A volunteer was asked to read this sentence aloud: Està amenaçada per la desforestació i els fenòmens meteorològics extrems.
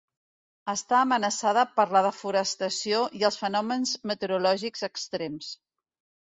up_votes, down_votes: 2, 1